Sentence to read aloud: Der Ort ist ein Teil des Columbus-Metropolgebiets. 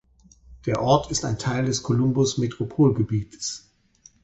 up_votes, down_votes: 4, 2